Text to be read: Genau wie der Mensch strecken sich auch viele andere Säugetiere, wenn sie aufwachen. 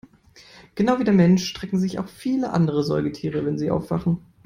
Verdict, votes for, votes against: accepted, 2, 0